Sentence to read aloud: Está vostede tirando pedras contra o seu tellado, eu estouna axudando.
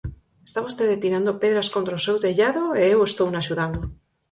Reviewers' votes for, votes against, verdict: 4, 2, accepted